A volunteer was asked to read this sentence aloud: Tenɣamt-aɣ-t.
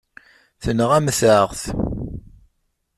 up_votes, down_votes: 2, 0